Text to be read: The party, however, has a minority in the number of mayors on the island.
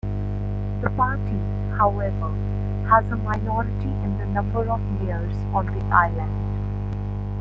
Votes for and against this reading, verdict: 2, 0, accepted